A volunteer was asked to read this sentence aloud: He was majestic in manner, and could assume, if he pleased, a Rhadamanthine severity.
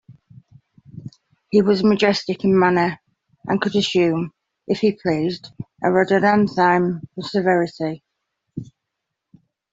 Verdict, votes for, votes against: rejected, 1, 2